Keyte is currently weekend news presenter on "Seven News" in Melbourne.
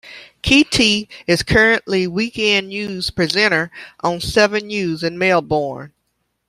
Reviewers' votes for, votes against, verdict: 1, 2, rejected